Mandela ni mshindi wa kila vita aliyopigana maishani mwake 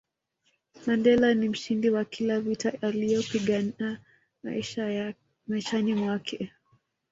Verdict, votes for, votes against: rejected, 1, 2